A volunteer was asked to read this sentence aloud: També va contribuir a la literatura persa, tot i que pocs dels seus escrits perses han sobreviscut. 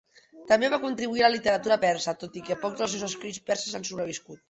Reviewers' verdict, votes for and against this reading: accepted, 2, 0